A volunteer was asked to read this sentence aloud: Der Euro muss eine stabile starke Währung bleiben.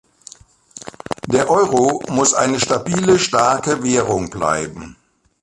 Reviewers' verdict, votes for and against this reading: accepted, 2, 0